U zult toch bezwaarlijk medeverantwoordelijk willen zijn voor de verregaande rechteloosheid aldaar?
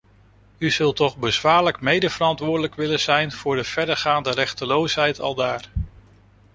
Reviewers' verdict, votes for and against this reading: accepted, 2, 0